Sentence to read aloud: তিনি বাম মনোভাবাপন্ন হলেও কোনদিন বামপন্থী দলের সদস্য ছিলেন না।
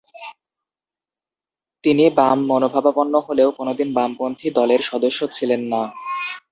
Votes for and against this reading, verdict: 0, 2, rejected